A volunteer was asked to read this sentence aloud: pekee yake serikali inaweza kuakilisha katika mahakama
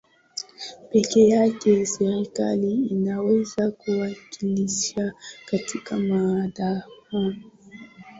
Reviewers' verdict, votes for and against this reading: rejected, 0, 2